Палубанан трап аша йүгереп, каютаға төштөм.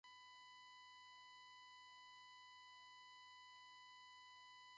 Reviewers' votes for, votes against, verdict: 1, 2, rejected